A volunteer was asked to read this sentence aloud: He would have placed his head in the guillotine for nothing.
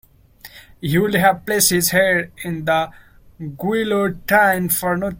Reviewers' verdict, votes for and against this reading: rejected, 0, 2